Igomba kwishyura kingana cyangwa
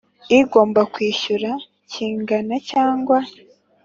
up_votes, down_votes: 3, 0